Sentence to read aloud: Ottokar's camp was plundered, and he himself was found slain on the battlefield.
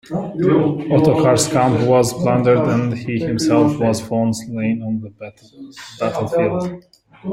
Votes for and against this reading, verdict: 0, 3, rejected